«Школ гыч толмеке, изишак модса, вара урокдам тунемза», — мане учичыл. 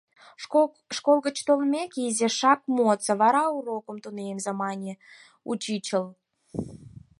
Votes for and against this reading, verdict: 2, 4, rejected